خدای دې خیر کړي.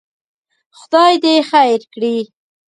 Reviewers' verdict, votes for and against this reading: accepted, 2, 0